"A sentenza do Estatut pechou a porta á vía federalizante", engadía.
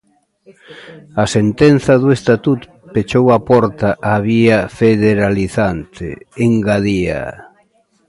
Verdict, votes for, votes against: rejected, 0, 2